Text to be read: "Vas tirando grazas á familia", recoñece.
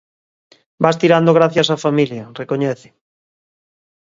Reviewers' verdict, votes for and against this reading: rejected, 0, 2